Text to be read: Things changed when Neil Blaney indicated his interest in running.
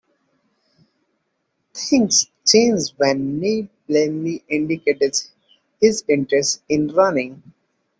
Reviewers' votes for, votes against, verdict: 2, 0, accepted